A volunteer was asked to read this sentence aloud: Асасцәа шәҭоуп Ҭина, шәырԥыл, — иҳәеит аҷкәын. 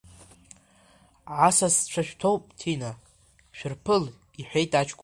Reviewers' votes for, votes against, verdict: 3, 1, accepted